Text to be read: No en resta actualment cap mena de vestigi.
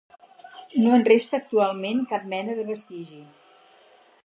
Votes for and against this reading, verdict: 4, 0, accepted